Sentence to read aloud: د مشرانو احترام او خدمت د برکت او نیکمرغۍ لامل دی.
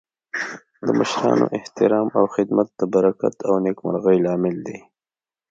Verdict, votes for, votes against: rejected, 0, 2